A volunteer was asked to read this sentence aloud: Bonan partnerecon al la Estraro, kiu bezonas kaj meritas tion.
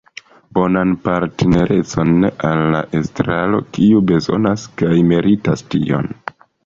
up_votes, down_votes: 2, 0